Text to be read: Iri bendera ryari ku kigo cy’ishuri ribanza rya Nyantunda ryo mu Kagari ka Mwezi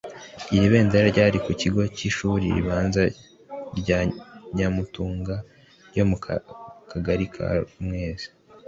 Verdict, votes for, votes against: rejected, 0, 2